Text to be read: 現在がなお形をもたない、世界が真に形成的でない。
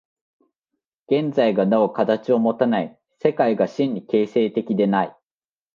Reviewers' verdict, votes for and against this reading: accepted, 2, 1